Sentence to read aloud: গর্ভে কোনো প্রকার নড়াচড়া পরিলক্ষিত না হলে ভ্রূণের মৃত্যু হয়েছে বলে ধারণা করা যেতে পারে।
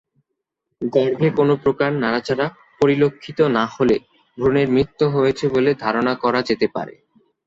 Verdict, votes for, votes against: rejected, 0, 2